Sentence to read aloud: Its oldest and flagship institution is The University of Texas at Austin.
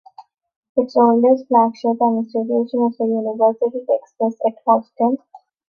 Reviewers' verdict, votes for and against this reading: rejected, 0, 2